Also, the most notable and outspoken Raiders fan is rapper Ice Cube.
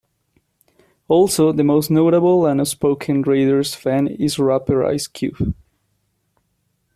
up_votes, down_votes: 0, 2